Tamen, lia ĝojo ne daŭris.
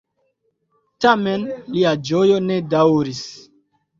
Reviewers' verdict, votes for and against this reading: rejected, 1, 2